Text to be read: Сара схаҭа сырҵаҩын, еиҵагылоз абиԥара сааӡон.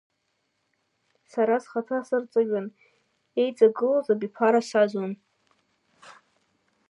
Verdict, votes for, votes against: accepted, 2, 1